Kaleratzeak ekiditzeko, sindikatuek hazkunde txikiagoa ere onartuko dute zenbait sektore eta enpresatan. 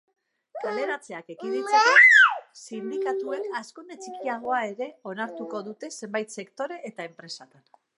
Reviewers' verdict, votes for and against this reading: rejected, 0, 2